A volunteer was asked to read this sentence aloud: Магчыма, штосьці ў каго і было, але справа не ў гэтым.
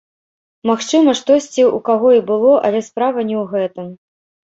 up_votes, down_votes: 1, 2